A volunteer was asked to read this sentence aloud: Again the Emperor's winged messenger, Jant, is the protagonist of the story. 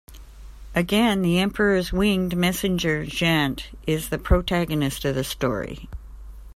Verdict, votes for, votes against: accepted, 2, 0